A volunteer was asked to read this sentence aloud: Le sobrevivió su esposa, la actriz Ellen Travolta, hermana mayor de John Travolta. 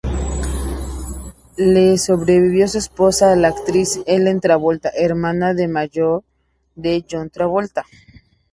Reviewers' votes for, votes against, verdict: 0, 2, rejected